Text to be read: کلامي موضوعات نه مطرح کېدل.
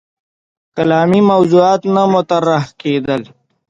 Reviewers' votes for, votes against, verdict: 2, 0, accepted